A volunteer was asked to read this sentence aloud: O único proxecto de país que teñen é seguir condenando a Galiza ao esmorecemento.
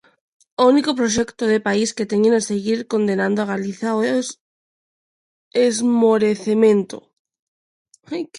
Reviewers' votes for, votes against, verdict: 0, 2, rejected